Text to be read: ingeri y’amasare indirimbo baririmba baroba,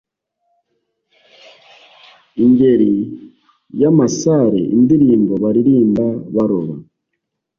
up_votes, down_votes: 2, 0